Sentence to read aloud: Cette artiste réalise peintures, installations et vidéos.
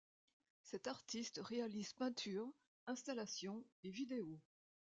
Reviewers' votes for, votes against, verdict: 2, 0, accepted